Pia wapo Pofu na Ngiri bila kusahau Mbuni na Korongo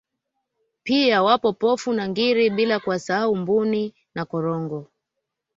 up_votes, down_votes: 2, 0